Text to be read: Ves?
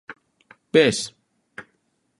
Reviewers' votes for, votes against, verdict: 2, 0, accepted